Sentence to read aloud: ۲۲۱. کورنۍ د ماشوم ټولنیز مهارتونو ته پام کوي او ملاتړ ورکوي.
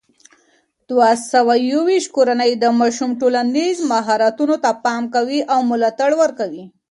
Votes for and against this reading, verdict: 0, 2, rejected